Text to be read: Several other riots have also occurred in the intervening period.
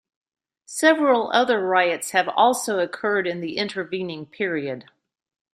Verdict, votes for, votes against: accepted, 2, 0